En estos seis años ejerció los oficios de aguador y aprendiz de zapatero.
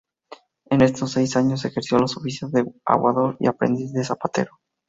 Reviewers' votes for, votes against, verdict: 2, 0, accepted